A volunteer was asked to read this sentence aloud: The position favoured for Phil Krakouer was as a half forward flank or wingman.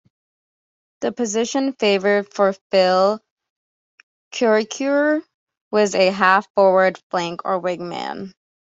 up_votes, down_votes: 2, 0